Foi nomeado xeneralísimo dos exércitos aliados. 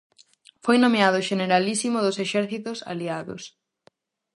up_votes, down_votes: 4, 0